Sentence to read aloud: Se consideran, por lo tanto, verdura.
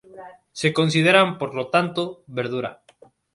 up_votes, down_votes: 2, 0